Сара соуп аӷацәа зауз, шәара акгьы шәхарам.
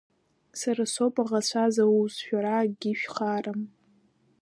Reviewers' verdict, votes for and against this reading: accepted, 2, 0